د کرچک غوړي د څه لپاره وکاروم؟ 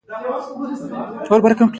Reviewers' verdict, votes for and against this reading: accepted, 2, 0